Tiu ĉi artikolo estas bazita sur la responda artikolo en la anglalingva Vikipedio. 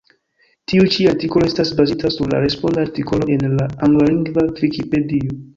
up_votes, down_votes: 1, 2